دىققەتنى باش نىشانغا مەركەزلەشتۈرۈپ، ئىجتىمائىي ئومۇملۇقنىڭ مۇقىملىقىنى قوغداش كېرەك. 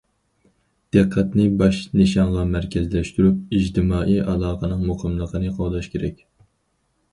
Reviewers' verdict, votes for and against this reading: rejected, 0, 4